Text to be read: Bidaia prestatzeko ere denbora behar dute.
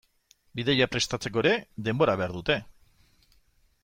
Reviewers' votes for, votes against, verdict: 2, 0, accepted